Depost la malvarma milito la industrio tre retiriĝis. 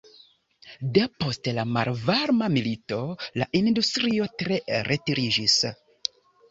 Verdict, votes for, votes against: accepted, 2, 1